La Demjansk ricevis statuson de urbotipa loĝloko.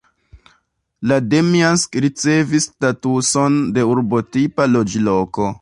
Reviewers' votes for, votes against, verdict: 0, 2, rejected